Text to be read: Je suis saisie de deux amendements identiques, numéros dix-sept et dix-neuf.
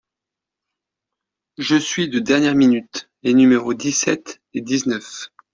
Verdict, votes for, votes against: rejected, 0, 2